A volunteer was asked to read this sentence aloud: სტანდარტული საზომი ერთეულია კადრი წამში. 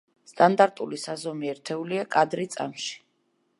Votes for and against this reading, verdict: 2, 0, accepted